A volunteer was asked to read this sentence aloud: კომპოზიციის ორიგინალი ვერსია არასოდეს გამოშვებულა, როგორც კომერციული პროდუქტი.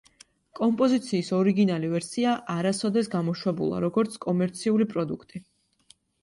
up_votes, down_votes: 2, 0